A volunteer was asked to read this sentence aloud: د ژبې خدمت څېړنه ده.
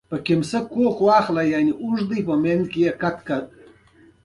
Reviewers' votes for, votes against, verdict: 0, 2, rejected